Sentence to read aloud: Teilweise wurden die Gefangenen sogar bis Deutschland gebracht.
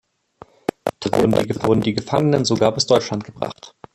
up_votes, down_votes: 0, 2